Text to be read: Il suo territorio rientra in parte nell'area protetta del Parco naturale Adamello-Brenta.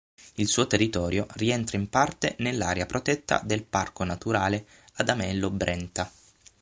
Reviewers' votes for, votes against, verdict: 15, 0, accepted